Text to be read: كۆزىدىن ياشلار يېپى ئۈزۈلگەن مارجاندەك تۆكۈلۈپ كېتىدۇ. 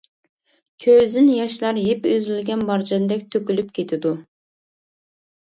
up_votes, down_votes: 1, 2